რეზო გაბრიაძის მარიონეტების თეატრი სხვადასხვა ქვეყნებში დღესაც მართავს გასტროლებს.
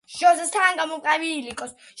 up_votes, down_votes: 0, 2